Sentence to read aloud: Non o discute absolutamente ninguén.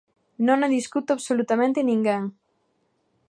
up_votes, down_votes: 2, 1